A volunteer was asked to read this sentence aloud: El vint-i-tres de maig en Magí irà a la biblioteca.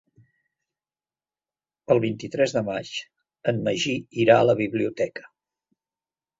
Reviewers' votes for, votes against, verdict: 3, 0, accepted